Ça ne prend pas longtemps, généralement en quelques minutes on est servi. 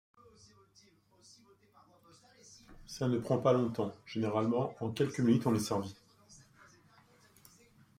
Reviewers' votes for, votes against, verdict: 2, 0, accepted